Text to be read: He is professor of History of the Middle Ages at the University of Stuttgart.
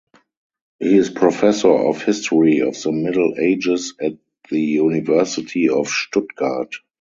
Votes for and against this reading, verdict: 4, 0, accepted